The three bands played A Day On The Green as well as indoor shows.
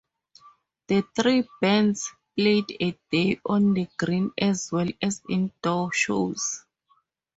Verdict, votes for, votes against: accepted, 4, 0